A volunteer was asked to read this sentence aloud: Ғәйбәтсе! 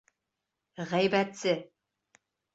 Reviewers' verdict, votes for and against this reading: accepted, 2, 0